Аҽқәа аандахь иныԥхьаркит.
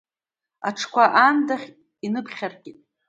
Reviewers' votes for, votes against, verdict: 2, 1, accepted